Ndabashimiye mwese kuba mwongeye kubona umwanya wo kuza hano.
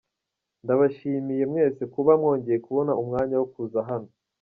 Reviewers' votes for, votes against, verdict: 2, 0, accepted